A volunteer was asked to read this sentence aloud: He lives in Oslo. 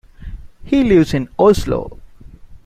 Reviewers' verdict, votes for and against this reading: accepted, 2, 0